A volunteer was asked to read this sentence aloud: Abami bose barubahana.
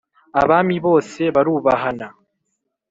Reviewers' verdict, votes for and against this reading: accepted, 3, 0